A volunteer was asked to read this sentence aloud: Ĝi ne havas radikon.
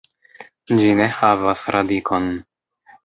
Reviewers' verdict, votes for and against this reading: rejected, 0, 2